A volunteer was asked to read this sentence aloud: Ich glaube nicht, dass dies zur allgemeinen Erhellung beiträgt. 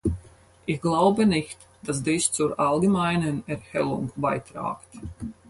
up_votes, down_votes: 0, 6